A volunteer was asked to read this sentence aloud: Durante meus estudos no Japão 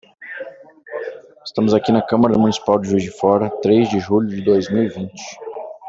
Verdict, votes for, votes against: rejected, 0, 2